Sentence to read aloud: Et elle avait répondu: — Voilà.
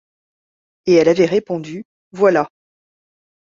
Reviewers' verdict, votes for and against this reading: accepted, 2, 0